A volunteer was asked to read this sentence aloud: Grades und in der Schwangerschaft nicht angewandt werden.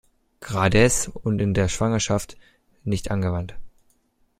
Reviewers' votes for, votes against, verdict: 1, 2, rejected